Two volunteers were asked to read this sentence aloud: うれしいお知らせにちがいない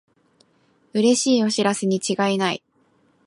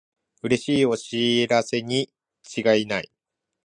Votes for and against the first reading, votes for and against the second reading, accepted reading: 2, 0, 1, 2, first